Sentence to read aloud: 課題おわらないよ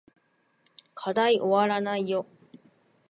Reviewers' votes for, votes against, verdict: 2, 0, accepted